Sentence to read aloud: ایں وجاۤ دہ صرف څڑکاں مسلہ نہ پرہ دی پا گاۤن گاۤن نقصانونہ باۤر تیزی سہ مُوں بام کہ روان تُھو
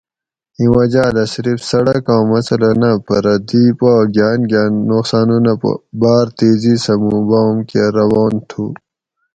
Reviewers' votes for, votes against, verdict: 2, 2, rejected